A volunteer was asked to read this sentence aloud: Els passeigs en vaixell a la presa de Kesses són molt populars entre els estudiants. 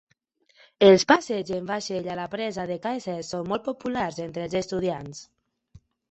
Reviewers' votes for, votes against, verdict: 2, 1, accepted